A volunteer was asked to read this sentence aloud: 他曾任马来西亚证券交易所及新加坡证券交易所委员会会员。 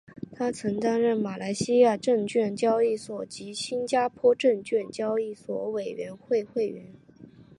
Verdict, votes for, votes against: accepted, 4, 0